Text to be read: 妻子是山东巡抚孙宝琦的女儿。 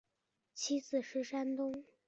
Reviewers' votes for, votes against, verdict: 1, 2, rejected